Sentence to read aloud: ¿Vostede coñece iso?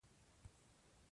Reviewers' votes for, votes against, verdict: 0, 2, rejected